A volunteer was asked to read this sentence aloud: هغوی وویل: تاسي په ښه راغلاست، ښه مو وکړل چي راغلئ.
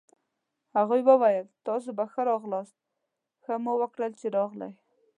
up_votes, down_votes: 2, 0